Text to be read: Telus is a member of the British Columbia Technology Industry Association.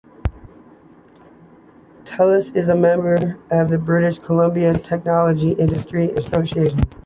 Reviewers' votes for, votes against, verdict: 2, 1, accepted